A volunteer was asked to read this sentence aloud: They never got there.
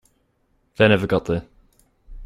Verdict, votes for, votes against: accepted, 2, 1